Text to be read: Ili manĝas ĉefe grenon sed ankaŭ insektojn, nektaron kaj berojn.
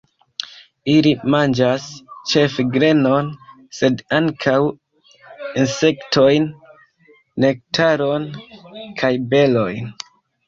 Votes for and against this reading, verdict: 1, 2, rejected